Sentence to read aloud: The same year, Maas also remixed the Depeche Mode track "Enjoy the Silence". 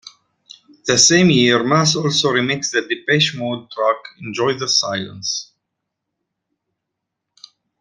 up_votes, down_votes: 2, 0